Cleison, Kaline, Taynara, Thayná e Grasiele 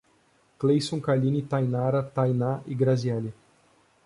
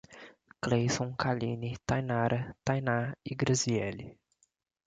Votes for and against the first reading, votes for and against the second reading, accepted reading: 2, 1, 0, 2, first